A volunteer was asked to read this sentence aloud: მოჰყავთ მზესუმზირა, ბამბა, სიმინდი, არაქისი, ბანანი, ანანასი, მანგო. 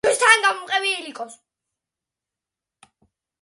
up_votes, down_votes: 0, 2